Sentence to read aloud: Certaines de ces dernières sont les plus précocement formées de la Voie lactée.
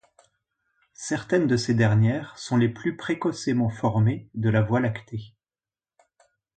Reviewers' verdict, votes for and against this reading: rejected, 0, 2